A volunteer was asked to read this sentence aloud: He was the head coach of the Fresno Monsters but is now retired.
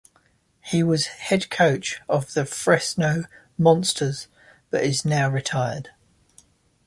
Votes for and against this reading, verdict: 0, 2, rejected